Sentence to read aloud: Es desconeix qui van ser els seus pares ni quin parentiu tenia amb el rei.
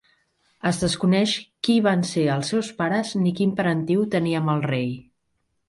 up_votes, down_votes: 3, 0